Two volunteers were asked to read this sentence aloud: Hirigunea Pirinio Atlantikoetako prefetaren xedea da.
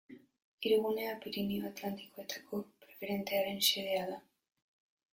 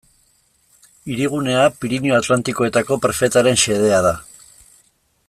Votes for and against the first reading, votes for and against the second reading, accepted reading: 0, 3, 2, 0, second